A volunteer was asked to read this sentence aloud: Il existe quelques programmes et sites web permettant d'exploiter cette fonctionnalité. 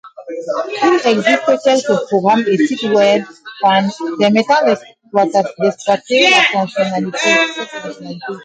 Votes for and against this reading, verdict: 0, 2, rejected